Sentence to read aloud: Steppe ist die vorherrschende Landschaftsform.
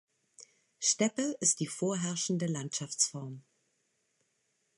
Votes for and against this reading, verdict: 2, 0, accepted